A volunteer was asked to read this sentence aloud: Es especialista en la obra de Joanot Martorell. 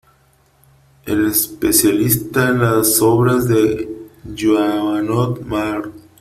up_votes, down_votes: 0, 3